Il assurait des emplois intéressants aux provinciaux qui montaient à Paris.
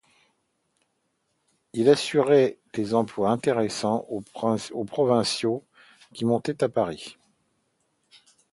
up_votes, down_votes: 0, 2